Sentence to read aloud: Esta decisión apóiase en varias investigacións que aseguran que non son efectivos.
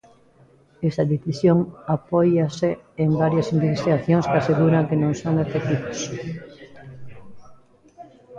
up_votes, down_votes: 1, 2